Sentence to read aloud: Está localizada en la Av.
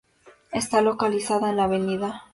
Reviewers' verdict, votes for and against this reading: accepted, 2, 0